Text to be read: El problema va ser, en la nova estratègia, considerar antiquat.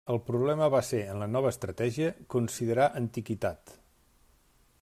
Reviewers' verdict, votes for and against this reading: rejected, 0, 2